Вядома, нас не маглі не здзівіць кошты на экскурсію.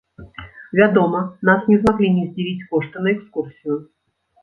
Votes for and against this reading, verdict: 1, 2, rejected